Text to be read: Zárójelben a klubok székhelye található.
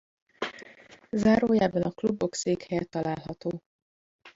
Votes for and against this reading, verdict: 1, 3, rejected